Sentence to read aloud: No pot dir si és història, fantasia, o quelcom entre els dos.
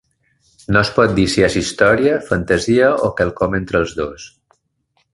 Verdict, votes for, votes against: rejected, 0, 2